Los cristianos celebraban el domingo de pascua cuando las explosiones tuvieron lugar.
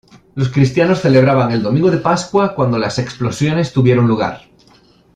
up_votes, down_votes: 2, 0